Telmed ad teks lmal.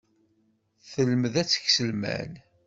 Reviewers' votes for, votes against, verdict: 2, 0, accepted